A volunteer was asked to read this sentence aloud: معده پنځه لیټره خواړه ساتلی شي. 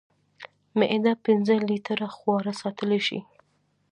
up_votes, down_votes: 2, 0